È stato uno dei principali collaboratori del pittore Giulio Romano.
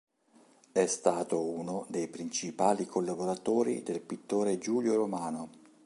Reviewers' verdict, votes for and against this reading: accepted, 3, 0